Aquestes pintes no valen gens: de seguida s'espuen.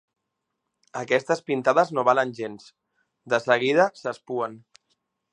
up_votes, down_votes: 1, 2